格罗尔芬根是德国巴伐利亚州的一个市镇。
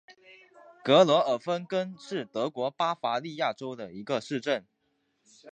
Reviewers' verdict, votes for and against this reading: rejected, 0, 2